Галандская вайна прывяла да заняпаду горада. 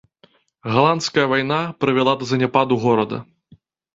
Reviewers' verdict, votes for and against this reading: accepted, 2, 0